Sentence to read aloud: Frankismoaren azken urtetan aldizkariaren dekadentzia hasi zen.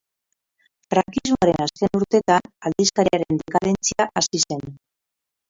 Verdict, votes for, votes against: rejected, 0, 4